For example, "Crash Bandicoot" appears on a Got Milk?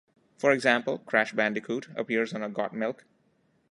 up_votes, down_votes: 2, 0